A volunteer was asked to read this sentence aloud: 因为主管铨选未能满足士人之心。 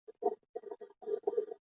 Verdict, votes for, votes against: rejected, 1, 2